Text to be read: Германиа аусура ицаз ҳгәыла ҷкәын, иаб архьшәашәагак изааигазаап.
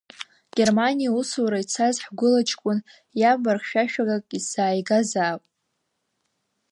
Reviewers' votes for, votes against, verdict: 0, 2, rejected